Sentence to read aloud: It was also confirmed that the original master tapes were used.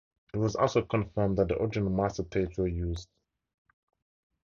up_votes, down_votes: 0, 2